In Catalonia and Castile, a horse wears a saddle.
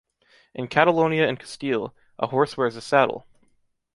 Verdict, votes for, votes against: rejected, 0, 2